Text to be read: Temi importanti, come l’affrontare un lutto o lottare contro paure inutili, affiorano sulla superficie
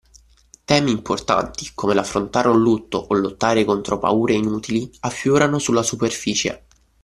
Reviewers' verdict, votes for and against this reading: accepted, 2, 0